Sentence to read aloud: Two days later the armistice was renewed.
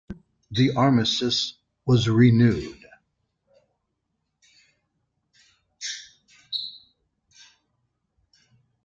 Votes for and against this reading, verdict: 1, 3, rejected